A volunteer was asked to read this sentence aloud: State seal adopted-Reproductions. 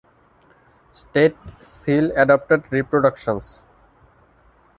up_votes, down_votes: 2, 0